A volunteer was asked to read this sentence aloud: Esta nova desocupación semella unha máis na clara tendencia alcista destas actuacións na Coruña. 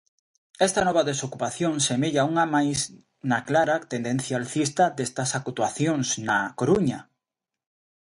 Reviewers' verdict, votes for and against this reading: accepted, 2, 0